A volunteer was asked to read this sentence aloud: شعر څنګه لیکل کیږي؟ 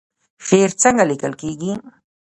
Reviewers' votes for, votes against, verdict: 1, 2, rejected